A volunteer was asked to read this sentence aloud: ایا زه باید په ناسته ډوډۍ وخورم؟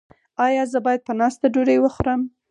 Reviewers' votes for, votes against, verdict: 2, 4, rejected